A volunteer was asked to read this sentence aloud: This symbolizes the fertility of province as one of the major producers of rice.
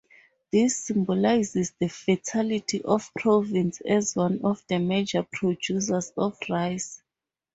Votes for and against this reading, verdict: 2, 0, accepted